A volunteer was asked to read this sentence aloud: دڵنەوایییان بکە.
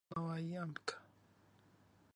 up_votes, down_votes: 1, 2